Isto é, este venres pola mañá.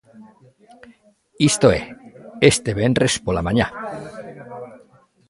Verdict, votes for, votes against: rejected, 1, 2